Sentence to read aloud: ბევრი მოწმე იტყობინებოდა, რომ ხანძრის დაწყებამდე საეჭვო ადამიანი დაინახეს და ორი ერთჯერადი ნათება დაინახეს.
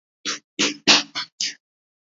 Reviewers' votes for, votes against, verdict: 0, 2, rejected